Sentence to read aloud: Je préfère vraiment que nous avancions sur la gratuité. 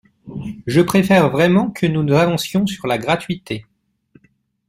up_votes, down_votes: 0, 2